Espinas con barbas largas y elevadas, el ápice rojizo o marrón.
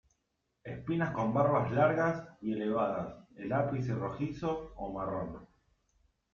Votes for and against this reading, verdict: 1, 2, rejected